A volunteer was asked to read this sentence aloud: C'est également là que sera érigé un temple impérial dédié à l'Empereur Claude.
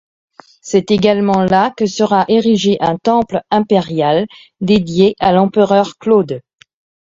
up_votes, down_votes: 1, 2